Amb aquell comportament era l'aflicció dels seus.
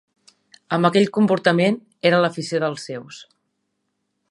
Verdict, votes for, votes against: rejected, 1, 3